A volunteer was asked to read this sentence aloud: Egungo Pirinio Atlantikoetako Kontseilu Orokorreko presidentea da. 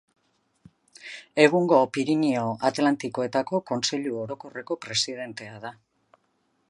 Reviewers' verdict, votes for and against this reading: accepted, 2, 0